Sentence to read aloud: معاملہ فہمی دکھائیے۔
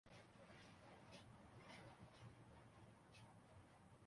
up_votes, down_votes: 0, 3